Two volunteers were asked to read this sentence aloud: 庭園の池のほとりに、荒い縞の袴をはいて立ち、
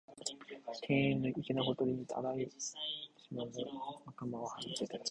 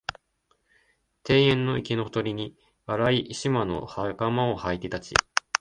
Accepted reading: second